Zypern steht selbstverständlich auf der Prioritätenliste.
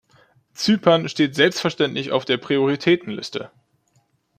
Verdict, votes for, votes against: accepted, 2, 0